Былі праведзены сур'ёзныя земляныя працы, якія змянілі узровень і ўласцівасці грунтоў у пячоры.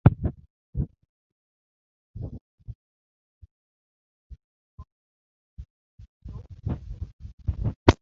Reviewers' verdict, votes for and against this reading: rejected, 0, 2